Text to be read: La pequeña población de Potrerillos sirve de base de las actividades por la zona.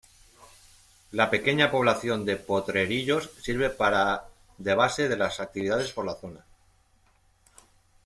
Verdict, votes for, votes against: rejected, 1, 2